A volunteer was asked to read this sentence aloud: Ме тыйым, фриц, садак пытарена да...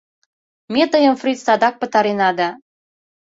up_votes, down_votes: 2, 0